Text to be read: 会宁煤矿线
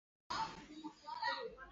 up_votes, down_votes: 0, 3